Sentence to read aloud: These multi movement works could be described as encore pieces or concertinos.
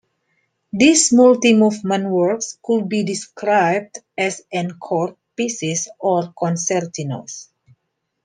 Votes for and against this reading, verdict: 2, 0, accepted